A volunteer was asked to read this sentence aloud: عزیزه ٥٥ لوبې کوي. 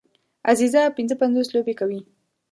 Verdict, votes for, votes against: rejected, 0, 2